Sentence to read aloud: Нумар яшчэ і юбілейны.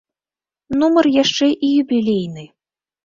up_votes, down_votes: 2, 0